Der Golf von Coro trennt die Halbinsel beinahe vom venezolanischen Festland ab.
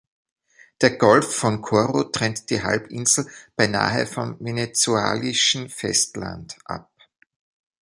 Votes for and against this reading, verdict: 0, 2, rejected